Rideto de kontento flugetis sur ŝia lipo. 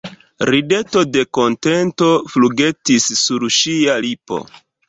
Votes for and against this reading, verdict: 2, 1, accepted